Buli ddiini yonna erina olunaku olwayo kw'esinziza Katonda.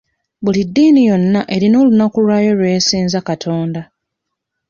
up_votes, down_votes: 0, 2